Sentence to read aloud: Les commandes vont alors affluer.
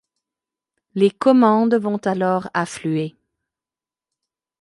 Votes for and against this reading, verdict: 2, 0, accepted